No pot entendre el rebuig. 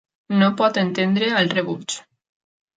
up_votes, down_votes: 3, 0